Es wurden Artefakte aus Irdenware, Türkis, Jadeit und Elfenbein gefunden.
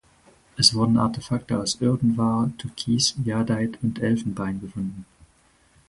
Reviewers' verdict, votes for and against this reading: rejected, 0, 4